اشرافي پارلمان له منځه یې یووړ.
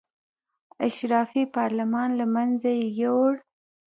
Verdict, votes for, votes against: rejected, 1, 2